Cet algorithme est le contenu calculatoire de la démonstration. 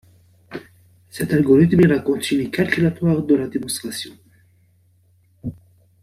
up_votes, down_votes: 0, 2